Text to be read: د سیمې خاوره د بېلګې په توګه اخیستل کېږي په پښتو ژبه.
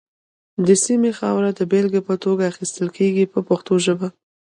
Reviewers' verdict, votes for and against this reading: rejected, 2, 3